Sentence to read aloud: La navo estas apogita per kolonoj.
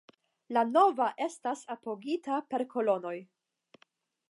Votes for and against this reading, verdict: 5, 5, rejected